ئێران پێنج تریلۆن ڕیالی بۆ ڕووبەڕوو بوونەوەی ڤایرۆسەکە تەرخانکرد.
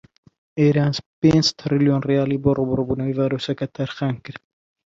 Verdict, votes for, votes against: rejected, 1, 2